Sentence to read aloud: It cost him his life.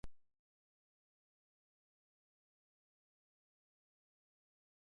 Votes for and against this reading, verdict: 0, 2, rejected